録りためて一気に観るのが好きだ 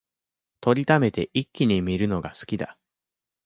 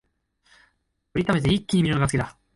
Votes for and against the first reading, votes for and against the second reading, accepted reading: 2, 0, 1, 2, first